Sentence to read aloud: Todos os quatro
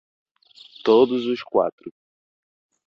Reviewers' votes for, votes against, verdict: 2, 0, accepted